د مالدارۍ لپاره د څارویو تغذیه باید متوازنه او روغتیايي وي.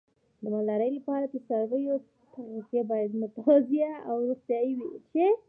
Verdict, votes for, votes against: accepted, 2, 1